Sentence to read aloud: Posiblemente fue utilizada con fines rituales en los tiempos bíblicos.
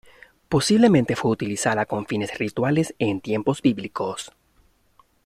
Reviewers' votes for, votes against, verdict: 1, 2, rejected